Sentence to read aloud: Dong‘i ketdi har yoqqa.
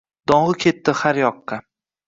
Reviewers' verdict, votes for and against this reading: accepted, 2, 0